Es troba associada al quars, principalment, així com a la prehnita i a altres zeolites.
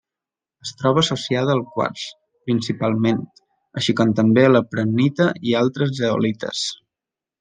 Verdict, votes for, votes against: rejected, 0, 2